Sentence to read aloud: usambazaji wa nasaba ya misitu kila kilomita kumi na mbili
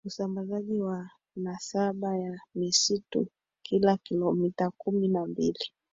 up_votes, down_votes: 1, 3